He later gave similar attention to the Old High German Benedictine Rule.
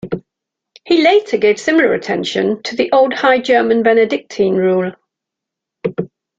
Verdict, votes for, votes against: accepted, 2, 0